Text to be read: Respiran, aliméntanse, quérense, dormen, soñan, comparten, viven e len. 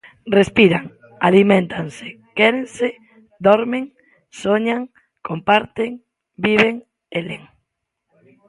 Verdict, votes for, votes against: accepted, 2, 1